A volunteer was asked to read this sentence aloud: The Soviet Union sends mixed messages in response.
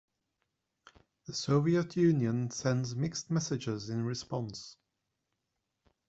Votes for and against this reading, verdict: 2, 0, accepted